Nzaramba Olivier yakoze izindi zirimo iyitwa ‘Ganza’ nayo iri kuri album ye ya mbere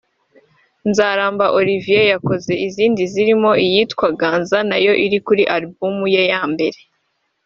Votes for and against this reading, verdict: 2, 0, accepted